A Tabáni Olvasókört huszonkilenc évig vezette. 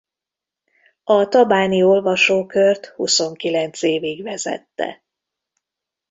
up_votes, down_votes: 0, 2